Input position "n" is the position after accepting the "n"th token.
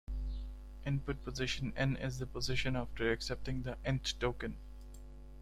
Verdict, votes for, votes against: rejected, 1, 2